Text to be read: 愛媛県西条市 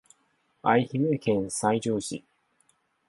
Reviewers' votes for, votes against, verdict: 1, 4, rejected